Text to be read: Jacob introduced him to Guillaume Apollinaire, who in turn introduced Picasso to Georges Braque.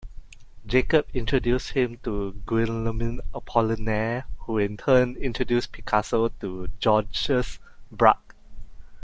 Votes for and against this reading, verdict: 1, 2, rejected